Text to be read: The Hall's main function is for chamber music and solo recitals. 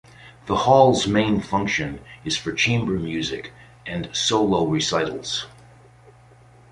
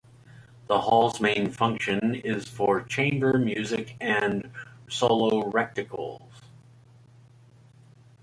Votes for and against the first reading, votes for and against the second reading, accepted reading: 2, 0, 0, 2, first